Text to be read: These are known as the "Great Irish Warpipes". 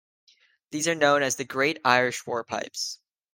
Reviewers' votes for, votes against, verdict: 2, 0, accepted